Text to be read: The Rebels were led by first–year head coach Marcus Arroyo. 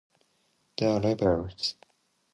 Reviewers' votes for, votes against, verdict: 0, 2, rejected